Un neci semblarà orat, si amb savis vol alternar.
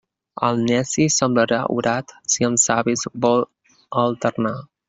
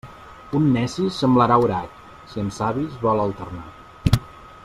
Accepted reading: second